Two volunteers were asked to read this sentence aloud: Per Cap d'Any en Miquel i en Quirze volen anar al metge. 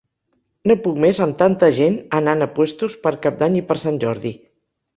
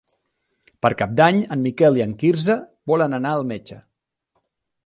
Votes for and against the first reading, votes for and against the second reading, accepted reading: 0, 2, 2, 0, second